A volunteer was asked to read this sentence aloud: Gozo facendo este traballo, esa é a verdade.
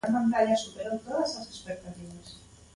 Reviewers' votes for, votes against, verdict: 0, 2, rejected